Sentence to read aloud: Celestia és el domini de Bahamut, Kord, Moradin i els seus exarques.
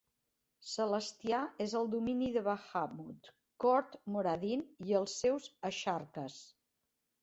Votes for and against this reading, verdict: 0, 2, rejected